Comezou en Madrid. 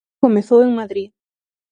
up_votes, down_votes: 3, 0